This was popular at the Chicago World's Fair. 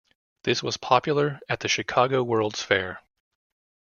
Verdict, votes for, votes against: accepted, 2, 1